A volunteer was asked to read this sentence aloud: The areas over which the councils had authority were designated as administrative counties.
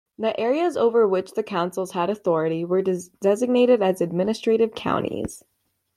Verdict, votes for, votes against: rejected, 1, 2